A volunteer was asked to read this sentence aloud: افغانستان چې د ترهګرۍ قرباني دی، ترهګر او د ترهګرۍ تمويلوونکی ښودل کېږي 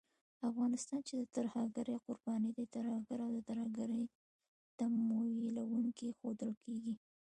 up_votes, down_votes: 0, 2